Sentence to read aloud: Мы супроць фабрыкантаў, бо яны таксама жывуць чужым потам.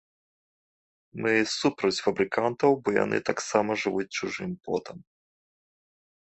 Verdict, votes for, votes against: accepted, 2, 0